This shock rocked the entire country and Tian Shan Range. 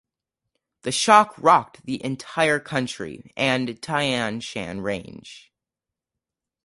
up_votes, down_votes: 0, 2